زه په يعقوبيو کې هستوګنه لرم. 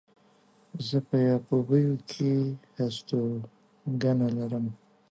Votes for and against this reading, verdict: 2, 0, accepted